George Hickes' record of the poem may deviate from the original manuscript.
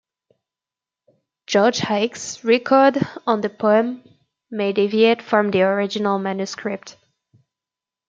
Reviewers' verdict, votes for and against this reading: rejected, 0, 2